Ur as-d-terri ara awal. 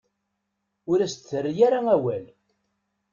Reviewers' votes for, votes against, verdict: 2, 0, accepted